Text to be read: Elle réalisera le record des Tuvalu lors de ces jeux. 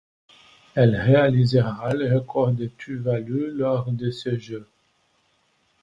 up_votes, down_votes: 0, 2